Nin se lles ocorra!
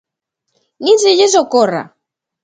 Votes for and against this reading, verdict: 2, 0, accepted